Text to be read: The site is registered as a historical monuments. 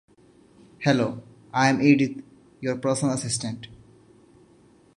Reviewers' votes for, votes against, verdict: 0, 2, rejected